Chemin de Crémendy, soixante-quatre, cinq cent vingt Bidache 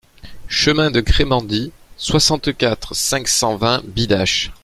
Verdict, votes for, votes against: accepted, 2, 0